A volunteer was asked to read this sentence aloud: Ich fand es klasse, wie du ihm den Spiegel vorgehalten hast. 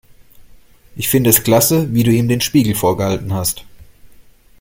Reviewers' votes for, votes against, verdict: 0, 2, rejected